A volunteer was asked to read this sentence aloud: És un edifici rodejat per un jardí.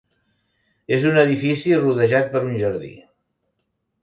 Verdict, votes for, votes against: accepted, 2, 0